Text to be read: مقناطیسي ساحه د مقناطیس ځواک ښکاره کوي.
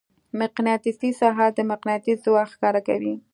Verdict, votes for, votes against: accepted, 2, 0